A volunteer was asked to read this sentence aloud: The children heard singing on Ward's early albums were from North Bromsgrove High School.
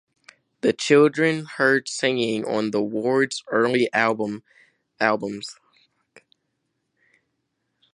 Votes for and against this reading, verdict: 0, 2, rejected